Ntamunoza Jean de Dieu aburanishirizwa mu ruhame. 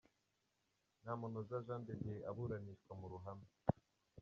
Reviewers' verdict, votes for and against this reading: rejected, 0, 2